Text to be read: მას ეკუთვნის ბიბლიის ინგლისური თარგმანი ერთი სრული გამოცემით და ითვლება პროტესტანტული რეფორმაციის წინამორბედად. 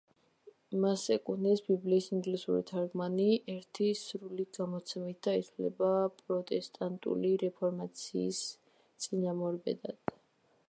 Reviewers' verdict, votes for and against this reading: accepted, 2, 1